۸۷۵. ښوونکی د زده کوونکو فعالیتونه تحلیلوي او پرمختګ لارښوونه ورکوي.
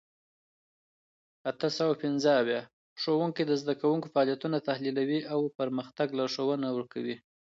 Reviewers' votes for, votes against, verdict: 0, 2, rejected